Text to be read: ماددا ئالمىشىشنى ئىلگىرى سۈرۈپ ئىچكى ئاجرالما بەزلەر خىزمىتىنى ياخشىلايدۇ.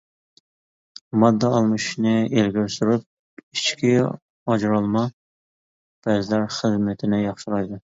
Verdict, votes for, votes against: rejected, 1, 2